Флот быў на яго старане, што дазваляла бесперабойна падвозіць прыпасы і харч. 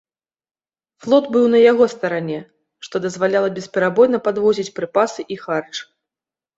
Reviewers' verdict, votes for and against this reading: accepted, 2, 0